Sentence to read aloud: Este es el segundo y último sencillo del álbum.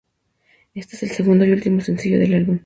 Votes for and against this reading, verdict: 2, 0, accepted